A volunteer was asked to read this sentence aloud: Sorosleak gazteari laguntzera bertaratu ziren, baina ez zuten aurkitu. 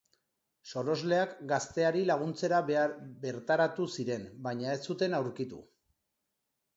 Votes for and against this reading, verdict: 1, 2, rejected